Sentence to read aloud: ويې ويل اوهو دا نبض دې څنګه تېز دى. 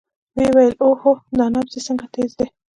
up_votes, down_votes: 2, 0